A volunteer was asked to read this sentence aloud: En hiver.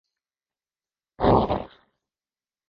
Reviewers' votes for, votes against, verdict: 0, 2, rejected